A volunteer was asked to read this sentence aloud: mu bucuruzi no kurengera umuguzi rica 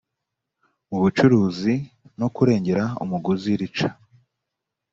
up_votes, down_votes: 2, 0